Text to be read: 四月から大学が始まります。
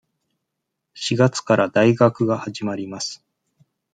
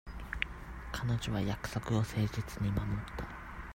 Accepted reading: first